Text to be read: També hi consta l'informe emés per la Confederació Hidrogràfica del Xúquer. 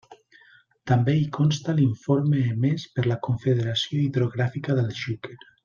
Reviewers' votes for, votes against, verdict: 2, 0, accepted